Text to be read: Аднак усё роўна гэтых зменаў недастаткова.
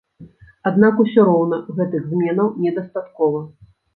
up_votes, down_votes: 1, 2